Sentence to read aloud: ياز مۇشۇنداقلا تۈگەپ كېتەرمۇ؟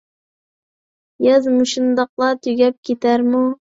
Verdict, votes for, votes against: accepted, 2, 0